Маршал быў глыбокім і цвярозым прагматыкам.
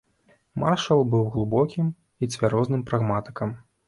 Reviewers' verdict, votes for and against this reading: rejected, 0, 2